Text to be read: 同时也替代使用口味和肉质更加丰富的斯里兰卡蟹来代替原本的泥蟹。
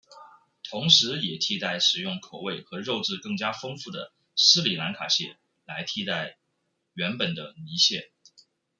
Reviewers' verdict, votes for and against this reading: accepted, 2, 1